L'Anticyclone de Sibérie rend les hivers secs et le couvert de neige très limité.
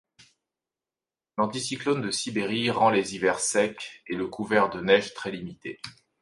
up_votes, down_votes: 3, 0